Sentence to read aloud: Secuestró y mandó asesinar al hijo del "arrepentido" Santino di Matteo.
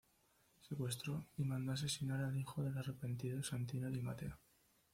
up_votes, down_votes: 1, 2